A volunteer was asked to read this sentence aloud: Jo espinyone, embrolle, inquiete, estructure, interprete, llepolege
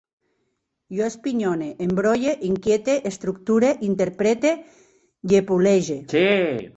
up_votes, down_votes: 1, 2